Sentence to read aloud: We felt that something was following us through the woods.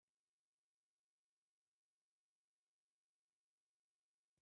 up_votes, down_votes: 0, 2